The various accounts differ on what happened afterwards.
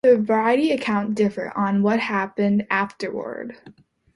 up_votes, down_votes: 0, 2